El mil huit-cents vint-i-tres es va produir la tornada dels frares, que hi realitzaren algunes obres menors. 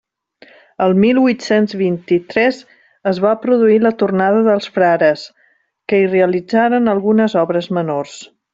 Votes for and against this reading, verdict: 3, 0, accepted